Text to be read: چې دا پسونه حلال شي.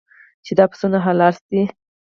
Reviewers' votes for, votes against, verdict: 2, 4, rejected